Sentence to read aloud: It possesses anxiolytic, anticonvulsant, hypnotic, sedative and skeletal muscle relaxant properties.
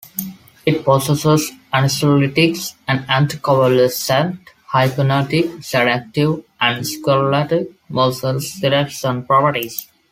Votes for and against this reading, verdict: 1, 2, rejected